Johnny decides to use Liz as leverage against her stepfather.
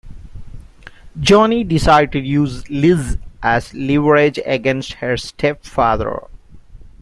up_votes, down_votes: 2, 0